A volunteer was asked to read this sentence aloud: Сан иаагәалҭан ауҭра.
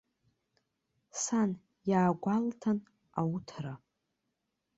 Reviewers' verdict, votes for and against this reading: accepted, 2, 0